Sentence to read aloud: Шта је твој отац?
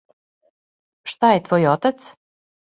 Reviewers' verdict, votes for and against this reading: accepted, 2, 0